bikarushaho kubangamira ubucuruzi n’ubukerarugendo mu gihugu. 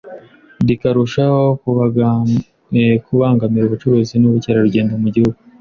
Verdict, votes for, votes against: rejected, 1, 2